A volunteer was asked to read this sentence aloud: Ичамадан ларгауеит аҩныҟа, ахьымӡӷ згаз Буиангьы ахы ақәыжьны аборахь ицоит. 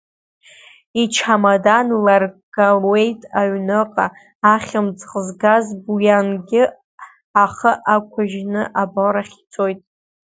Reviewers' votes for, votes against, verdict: 2, 0, accepted